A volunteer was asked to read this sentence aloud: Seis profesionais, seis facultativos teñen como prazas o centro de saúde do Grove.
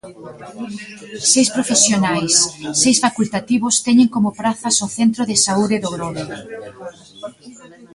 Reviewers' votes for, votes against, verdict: 1, 2, rejected